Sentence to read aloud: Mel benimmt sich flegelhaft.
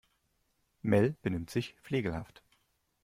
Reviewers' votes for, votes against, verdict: 2, 0, accepted